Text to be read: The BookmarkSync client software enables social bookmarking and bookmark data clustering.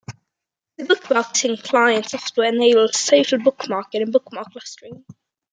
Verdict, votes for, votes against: rejected, 1, 2